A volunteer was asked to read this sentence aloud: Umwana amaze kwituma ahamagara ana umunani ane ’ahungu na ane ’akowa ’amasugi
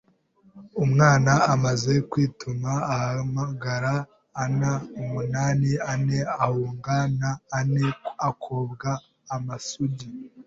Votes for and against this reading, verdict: 1, 2, rejected